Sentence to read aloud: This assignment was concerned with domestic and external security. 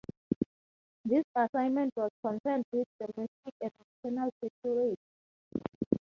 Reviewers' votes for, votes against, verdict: 2, 2, rejected